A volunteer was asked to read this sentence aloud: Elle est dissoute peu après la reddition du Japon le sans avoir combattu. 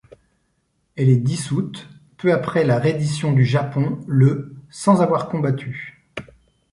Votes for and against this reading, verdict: 2, 0, accepted